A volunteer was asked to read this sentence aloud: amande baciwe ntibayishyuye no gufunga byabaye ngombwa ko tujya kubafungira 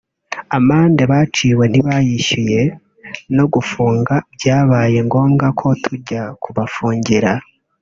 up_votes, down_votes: 0, 2